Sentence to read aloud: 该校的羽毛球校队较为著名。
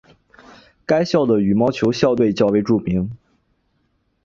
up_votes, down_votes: 3, 0